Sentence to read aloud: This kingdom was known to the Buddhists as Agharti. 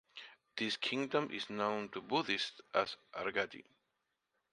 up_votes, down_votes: 0, 2